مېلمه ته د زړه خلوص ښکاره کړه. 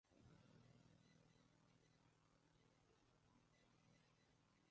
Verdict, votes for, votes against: rejected, 0, 2